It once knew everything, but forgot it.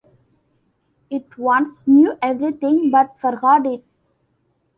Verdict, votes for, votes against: accepted, 2, 0